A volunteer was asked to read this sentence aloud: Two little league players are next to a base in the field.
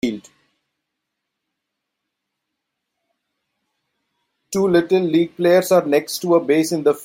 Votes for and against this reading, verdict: 0, 2, rejected